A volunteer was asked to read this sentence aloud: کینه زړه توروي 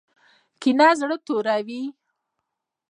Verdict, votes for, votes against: rejected, 0, 2